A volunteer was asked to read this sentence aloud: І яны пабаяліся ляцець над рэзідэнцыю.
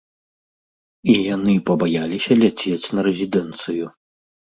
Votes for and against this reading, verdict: 0, 2, rejected